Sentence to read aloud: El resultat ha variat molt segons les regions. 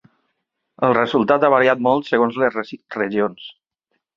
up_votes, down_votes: 0, 2